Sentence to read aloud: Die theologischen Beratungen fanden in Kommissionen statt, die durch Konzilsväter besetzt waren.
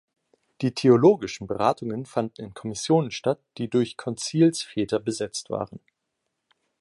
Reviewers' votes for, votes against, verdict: 2, 0, accepted